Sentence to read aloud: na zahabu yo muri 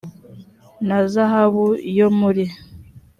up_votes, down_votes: 3, 0